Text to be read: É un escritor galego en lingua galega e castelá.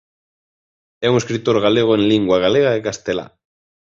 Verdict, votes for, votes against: accepted, 2, 0